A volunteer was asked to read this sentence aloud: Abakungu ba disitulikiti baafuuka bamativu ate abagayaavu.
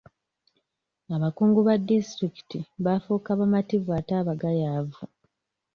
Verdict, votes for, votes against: rejected, 1, 2